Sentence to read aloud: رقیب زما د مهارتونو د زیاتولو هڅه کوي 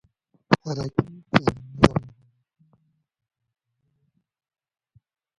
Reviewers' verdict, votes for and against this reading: rejected, 0, 2